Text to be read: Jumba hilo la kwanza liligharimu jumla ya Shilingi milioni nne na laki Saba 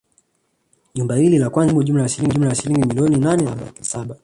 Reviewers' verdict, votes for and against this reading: rejected, 0, 2